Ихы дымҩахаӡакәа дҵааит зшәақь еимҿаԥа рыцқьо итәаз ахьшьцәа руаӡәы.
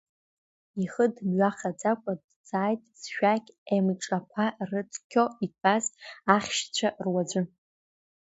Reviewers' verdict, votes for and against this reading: rejected, 1, 2